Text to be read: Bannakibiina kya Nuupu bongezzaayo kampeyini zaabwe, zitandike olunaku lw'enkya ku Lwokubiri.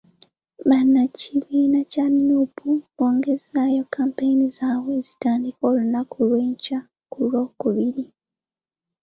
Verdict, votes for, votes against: accepted, 2, 0